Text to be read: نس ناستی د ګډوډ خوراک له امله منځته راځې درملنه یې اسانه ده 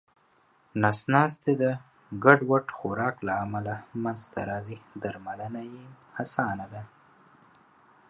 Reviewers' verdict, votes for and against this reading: accepted, 2, 1